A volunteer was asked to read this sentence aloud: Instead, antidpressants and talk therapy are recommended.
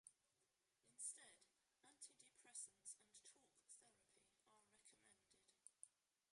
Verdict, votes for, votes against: rejected, 0, 2